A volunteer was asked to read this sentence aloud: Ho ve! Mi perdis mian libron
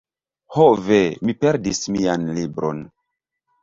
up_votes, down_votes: 2, 1